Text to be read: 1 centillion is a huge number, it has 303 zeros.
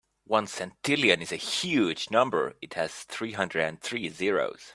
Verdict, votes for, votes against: rejected, 0, 2